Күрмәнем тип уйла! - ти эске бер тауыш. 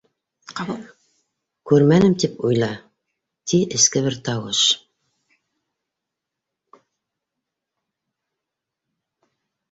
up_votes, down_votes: 0, 2